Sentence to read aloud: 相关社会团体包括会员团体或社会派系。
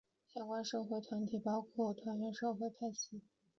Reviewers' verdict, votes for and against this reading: rejected, 1, 2